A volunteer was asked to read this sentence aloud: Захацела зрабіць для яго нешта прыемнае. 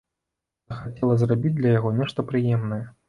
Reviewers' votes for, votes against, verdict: 1, 2, rejected